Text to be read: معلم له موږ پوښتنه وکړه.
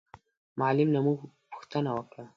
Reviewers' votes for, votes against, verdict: 2, 0, accepted